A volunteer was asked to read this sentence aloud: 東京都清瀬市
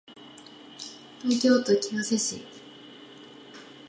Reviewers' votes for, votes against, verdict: 1, 2, rejected